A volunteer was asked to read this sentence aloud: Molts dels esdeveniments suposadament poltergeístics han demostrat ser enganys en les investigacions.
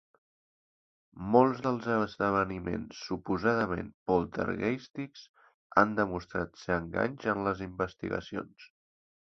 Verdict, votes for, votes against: rejected, 1, 2